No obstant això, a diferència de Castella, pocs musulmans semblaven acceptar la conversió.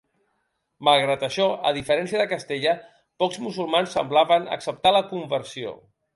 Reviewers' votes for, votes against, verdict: 0, 2, rejected